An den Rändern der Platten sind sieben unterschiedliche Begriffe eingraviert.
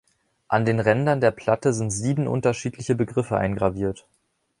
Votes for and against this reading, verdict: 0, 2, rejected